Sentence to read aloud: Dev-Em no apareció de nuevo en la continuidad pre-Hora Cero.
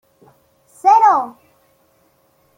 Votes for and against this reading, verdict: 0, 2, rejected